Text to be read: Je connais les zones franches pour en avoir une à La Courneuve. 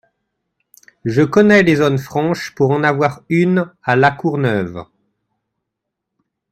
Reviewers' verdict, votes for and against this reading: accepted, 2, 0